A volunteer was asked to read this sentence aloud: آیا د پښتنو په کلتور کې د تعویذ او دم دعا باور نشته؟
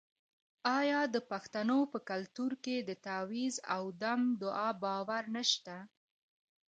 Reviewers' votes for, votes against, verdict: 1, 2, rejected